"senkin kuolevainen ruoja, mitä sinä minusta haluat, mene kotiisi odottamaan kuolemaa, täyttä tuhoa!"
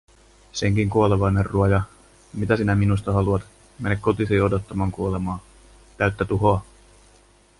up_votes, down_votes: 2, 0